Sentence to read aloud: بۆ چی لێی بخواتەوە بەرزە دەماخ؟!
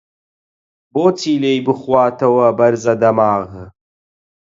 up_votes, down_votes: 0, 4